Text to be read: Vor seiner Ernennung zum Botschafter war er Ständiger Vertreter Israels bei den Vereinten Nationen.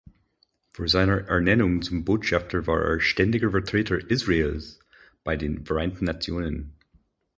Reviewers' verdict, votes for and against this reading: accepted, 4, 0